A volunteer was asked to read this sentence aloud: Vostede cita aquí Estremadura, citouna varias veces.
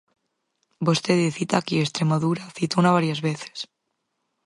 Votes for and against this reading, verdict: 4, 0, accepted